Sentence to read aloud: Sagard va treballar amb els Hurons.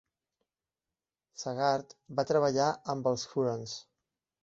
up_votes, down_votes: 1, 2